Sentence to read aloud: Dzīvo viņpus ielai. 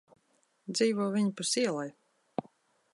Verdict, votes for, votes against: accepted, 2, 0